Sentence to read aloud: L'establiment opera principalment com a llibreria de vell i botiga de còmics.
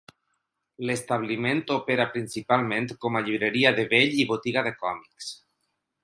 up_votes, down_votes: 4, 0